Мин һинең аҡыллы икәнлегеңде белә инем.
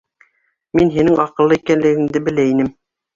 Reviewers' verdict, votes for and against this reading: accepted, 2, 0